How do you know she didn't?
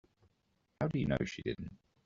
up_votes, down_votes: 1, 2